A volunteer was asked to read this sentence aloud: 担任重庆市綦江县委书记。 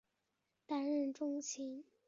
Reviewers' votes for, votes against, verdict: 0, 2, rejected